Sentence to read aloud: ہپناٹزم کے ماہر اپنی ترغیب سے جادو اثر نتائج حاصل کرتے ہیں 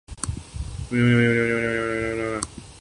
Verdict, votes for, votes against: rejected, 0, 2